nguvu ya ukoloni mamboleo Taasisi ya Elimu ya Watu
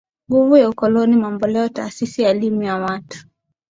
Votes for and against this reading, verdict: 3, 1, accepted